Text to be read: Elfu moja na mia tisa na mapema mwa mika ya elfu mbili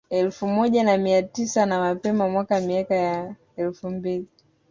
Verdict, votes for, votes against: rejected, 0, 2